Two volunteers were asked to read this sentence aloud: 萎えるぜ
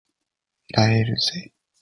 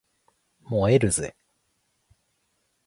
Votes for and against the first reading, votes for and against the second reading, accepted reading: 2, 0, 0, 2, first